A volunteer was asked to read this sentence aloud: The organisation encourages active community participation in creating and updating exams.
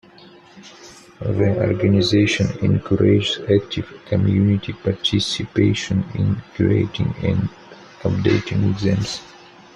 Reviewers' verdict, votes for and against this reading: rejected, 0, 2